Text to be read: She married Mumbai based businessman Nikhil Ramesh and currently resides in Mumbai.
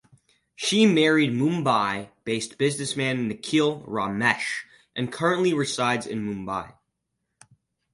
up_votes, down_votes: 0, 4